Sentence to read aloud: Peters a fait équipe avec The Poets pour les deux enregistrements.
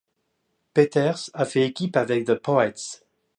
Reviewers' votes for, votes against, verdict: 0, 2, rejected